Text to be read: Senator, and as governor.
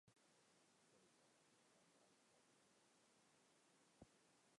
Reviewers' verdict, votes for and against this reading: rejected, 0, 2